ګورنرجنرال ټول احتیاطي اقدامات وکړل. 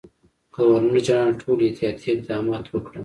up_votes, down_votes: 1, 2